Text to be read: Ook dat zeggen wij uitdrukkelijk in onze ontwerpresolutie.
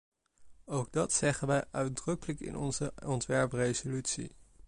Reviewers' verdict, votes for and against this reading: accepted, 2, 0